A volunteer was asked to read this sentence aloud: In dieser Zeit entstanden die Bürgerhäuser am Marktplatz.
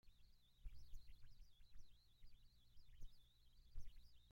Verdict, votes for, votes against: rejected, 0, 2